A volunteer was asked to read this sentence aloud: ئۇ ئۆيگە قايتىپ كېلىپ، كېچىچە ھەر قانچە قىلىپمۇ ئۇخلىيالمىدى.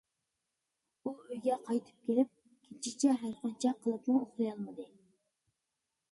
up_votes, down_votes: 1, 2